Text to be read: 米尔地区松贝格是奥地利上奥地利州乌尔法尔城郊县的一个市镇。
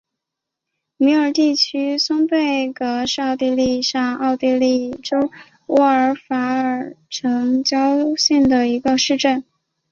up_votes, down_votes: 4, 0